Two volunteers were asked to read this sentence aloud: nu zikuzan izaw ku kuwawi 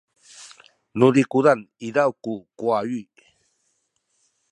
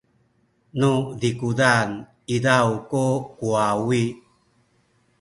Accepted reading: first